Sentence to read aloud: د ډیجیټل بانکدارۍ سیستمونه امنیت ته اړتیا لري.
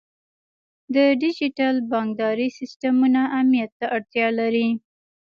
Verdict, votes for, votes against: rejected, 1, 2